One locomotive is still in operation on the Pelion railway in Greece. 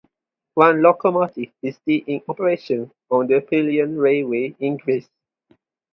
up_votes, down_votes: 4, 0